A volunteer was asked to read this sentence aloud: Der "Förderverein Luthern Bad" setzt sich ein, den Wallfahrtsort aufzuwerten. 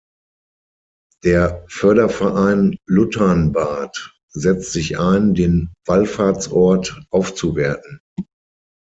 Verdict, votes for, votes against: rejected, 0, 6